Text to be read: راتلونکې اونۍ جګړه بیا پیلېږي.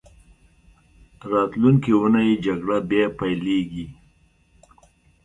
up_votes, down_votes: 2, 0